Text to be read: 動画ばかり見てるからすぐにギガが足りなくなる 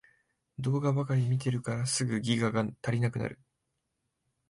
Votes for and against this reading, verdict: 1, 2, rejected